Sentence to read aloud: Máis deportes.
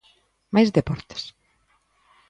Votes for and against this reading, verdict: 2, 0, accepted